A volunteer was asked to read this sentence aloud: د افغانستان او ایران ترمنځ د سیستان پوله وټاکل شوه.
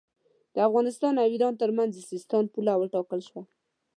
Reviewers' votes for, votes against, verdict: 2, 0, accepted